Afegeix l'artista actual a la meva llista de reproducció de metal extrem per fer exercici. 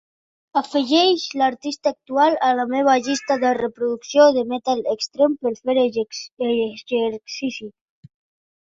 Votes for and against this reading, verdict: 0, 2, rejected